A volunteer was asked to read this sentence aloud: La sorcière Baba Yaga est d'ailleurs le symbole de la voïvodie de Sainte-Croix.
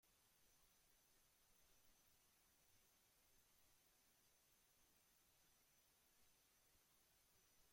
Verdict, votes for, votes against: rejected, 0, 2